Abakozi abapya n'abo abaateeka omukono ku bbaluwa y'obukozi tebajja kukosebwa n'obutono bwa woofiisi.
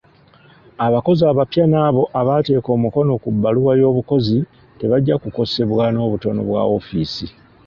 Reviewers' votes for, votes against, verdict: 2, 0, accepted